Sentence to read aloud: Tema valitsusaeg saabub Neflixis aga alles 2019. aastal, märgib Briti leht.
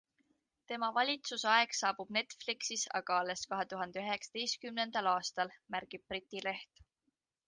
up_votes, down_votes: 0, 2